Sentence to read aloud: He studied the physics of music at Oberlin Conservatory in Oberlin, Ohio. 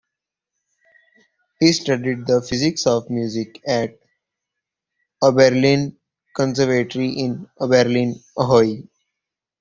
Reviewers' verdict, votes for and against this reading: rejected, 0, 2